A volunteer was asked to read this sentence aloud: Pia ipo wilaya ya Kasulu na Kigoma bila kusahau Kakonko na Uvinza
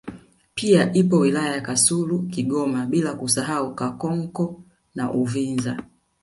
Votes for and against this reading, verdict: 0, 2, rejected